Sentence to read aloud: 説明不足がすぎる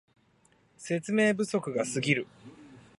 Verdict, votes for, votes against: accepted, 2, 0